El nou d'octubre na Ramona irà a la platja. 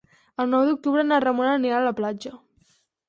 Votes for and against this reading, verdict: 0, 4, rejected